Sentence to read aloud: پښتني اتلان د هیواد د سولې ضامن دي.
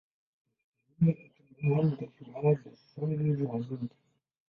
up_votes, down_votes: 0, 2